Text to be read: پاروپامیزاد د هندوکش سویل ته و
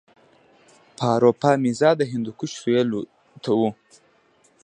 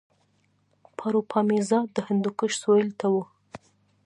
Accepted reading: second